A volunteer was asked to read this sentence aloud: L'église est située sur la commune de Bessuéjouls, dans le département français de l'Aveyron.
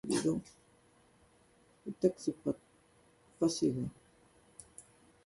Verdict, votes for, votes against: rejected, 0, 2